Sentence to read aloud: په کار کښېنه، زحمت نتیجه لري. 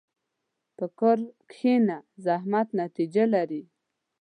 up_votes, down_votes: 2, 0